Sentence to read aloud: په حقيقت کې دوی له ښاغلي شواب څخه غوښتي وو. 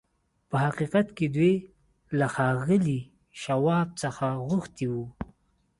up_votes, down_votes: 3, 0